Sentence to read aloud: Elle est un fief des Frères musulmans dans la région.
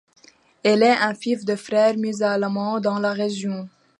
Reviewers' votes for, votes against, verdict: 1, 2, rejected